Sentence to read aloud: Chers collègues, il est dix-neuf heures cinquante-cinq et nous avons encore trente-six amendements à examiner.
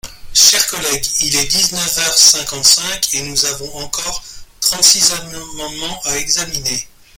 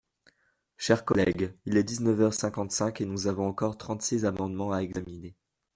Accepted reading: second